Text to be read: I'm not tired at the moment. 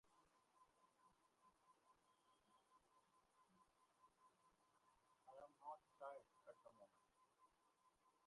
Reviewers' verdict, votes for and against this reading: rejected, 0, 2